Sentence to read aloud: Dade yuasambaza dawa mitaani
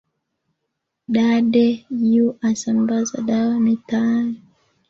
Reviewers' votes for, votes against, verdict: 2, 0, accepted